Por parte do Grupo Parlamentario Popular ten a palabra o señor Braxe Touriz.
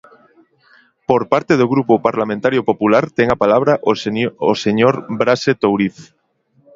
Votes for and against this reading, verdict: 0, 2, rejected